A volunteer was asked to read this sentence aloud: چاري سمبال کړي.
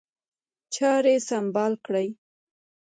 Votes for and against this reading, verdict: 1, 2, rejected